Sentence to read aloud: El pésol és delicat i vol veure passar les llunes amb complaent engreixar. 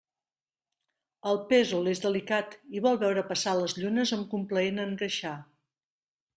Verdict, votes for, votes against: rejected, 1, 2